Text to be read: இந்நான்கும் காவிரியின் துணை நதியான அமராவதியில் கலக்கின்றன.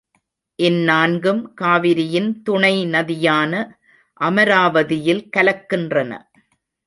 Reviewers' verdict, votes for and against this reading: accepted, 3, 0